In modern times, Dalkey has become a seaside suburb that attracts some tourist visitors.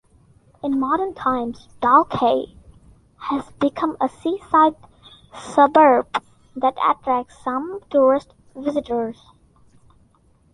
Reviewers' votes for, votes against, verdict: 2, 0, accepted